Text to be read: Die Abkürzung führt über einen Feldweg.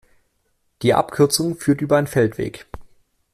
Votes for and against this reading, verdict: 2, 0, accepted